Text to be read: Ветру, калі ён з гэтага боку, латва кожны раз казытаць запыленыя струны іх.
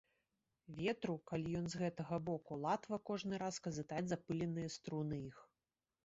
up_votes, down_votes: 1, 2